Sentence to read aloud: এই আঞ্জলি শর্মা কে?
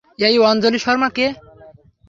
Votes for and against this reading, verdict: 3, 0, accepted